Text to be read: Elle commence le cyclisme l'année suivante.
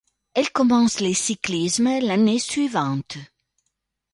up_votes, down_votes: 1, 2